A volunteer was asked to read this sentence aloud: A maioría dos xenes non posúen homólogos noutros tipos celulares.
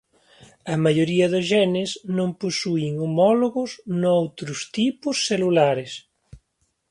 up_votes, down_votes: 2, 0